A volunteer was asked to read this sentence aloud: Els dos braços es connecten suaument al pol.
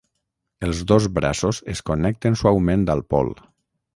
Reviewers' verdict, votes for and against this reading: rejected, 0, 6